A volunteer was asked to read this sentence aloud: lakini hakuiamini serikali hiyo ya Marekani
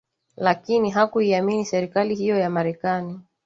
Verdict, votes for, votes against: accepted, 3, 0